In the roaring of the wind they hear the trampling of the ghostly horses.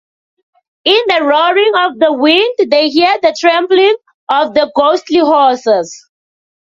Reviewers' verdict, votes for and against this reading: accepted, 2, 0